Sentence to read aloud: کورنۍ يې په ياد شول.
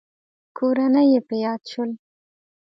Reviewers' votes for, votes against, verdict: 2, 0, accepted